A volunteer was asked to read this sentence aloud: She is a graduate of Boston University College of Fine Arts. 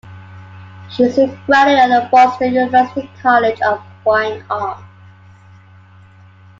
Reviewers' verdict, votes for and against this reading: accepted, 2, 0